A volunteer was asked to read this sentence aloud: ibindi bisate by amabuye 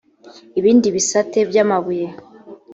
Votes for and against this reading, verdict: 5, 0, accepted